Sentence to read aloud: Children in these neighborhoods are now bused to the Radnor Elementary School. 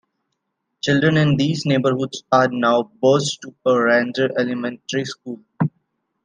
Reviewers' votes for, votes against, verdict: 0, 2, rejected